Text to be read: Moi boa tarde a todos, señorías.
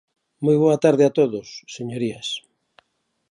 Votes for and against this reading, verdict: 2, 0, accepted